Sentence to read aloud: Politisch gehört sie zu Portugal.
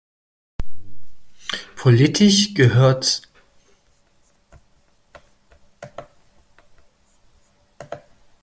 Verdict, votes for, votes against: rejected, 0, 2